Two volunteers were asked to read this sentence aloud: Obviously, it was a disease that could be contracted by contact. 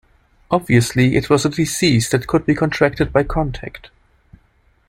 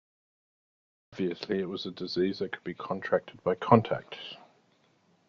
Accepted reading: first